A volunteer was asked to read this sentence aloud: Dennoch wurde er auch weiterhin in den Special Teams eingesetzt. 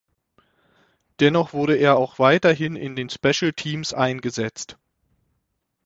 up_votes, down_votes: 6, 0